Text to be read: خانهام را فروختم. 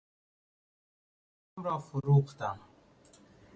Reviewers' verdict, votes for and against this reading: rejected, 0, 2